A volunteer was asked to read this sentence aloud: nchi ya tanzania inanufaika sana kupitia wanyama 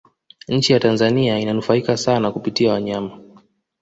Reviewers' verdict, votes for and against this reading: accepted, 2, 0